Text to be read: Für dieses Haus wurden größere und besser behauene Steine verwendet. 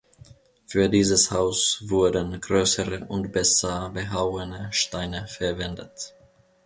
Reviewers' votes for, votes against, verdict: 2, 0, accepted